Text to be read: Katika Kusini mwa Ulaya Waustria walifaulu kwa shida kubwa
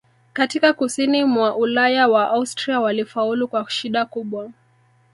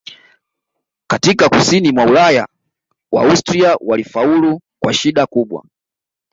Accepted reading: second